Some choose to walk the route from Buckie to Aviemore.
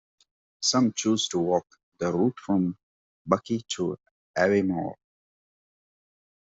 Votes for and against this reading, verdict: 2, 1, accepted